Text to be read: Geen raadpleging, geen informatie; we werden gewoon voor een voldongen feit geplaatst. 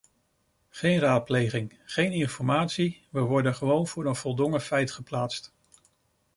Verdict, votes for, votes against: rejected, 0, 2